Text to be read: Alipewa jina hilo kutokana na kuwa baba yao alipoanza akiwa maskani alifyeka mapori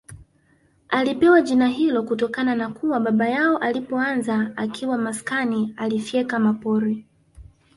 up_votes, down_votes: 2, 1